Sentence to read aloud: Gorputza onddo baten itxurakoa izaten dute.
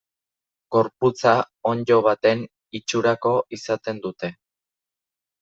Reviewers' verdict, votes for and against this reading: rejected, 0, 2